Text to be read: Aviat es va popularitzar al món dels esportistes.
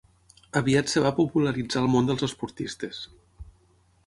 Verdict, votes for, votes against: rejected, 0, 6